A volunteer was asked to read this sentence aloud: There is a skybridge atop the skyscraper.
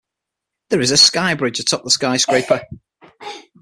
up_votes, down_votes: 6, 0